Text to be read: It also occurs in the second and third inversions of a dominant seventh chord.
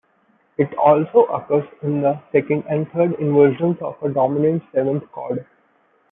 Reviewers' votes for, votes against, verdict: 2, 0, accepted